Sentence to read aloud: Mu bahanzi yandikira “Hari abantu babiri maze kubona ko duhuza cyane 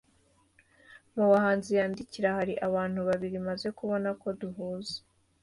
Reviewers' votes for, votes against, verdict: 2, 1, accepted